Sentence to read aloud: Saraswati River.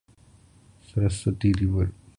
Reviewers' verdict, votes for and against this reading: accepted, 2, 1